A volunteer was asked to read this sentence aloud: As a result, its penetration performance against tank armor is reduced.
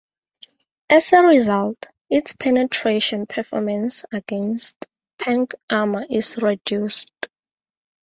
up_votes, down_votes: 4, 0